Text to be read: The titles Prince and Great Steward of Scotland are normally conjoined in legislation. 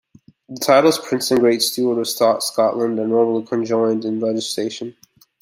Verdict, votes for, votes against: rejected, 0, 2